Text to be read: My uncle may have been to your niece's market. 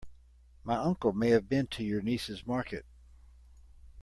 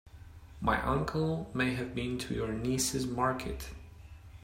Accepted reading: second